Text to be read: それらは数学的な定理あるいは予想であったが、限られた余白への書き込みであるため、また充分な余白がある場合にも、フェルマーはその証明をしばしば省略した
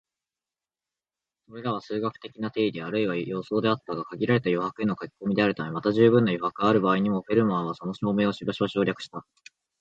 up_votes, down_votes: 2, 1